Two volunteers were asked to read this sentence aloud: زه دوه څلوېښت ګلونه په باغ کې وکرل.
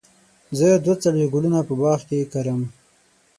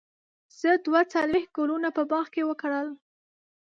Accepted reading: first